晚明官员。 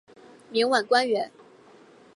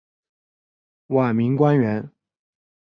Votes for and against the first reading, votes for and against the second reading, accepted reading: 0, 2, 2, 1, second